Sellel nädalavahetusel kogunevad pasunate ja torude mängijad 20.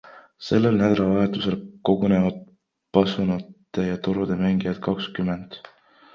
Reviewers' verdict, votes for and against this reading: rejected, 0, 2